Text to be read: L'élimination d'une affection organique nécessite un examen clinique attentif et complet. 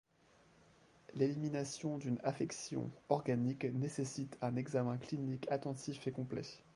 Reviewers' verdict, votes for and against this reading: rejected, 1, 2